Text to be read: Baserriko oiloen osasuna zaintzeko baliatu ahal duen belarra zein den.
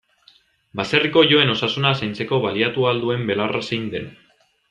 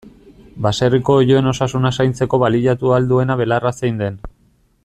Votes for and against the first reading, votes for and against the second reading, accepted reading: 2, 0, 0, 2, first